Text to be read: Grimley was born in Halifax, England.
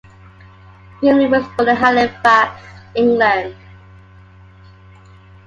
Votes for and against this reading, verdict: 2, 0, accepted